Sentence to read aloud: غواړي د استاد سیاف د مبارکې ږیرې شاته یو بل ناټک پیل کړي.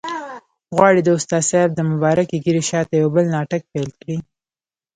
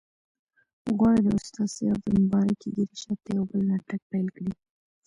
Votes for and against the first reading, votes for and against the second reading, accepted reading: 1, 2, 2, 0, second